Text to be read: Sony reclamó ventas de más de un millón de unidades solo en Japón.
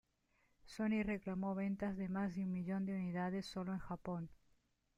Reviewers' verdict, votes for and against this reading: accepted, 2, 1